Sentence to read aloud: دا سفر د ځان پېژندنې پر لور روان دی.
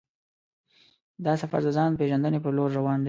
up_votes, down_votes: 2, 0